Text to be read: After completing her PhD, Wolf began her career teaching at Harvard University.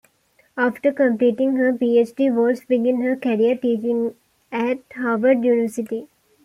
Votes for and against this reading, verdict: 0, 2, rejected